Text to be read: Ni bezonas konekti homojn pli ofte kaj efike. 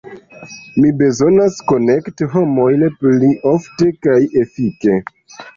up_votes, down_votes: 1, 2